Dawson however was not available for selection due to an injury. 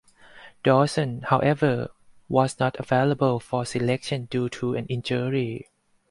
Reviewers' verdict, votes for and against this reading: accepted, 4, 0